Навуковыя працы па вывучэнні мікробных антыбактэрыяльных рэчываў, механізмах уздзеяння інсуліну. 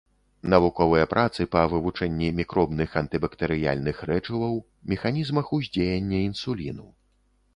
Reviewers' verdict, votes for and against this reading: accepted, 2, 0